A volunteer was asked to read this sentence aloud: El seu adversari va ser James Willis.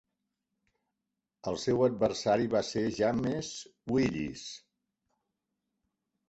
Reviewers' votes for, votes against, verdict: 0, 2, rejected